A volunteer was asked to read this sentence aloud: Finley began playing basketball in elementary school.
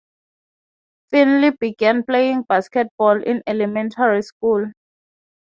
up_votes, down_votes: 0, 3